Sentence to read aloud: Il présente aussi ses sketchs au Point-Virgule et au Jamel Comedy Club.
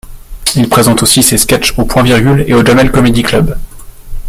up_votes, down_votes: 2, 0